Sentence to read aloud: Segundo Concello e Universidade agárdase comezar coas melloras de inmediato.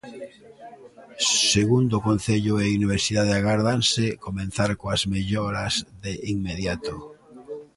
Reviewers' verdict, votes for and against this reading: rejected, 1, 2